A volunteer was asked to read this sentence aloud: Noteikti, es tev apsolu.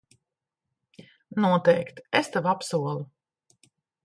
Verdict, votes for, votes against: accepted, 2, 0